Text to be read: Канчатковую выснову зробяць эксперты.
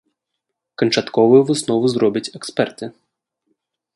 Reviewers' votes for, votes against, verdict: 2, 0, accepted